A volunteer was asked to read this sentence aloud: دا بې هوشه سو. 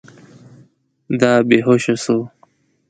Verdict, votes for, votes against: accepted, 2, 0